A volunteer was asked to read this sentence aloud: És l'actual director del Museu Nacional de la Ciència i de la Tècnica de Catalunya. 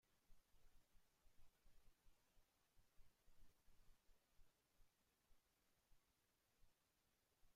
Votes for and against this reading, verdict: 0, 2, rejected